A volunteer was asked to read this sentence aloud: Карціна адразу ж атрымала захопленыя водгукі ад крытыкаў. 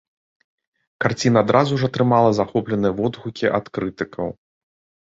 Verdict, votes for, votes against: accepted, 2, 0